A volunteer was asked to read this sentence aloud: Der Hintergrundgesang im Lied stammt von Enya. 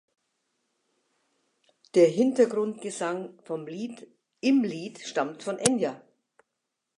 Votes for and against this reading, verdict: 0, 2, rejected